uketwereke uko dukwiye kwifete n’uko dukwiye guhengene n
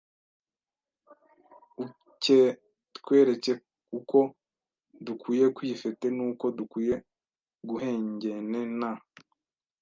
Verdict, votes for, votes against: rejected, 1, 2